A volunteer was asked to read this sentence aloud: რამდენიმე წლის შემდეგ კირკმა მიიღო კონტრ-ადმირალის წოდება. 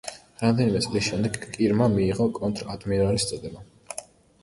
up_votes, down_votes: 0, 2